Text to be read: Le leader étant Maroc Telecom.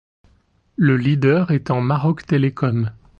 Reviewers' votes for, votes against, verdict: 2, 0, accepted